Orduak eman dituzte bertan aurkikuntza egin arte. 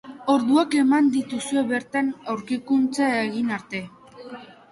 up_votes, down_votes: 0, 2